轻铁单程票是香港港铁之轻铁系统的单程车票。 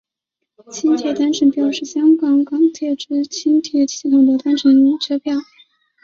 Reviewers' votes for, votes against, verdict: 0, 2, rejected